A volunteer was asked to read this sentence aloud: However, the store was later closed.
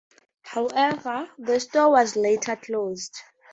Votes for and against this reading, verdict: 2, 0, accepted